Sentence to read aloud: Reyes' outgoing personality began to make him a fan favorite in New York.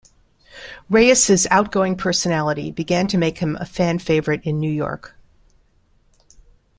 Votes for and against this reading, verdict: 2, 1, accepted